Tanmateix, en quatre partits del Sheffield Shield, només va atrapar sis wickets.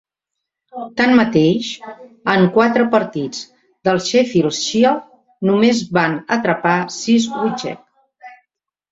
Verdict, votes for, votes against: rejected, 0, 2